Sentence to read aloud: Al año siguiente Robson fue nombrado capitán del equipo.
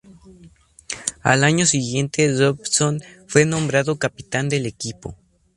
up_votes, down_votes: 2, 0